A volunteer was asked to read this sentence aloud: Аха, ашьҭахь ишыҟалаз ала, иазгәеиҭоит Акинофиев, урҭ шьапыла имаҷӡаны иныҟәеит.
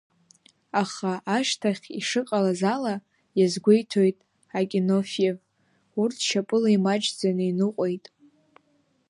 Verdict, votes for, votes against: accepted, 2, 0